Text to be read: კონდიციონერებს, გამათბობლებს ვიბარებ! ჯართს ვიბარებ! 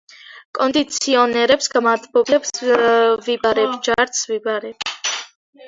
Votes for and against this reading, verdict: 0, 2, rejected